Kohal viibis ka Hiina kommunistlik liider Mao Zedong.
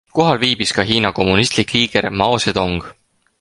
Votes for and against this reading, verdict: 6, 4, accepted